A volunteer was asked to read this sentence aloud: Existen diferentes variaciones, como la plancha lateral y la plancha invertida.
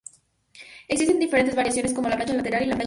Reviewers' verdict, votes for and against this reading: rejected, 0, 2